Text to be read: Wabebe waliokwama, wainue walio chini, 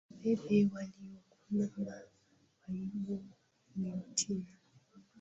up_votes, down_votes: 0, 2